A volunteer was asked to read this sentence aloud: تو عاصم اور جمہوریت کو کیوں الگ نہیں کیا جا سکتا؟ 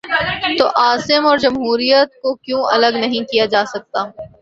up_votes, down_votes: 0, 2